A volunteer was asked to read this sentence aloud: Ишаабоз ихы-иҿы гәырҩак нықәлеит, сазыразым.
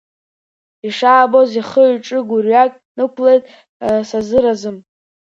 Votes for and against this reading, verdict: 0, 2, rejected